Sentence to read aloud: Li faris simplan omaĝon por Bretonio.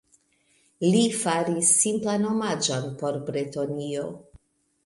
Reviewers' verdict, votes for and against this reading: rejected, 1, 2